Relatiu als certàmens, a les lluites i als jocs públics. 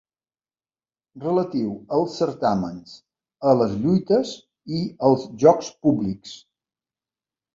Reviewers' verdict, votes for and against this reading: accepted, 3, 0